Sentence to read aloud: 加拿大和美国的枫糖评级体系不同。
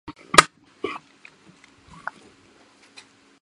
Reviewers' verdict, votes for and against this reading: rejected, 0, 2